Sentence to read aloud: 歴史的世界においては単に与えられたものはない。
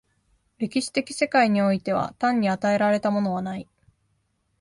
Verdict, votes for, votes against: accepted, 2, 0